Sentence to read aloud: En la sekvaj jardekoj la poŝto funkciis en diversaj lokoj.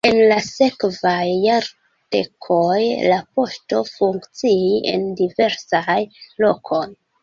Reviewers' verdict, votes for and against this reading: rejected, 1, 2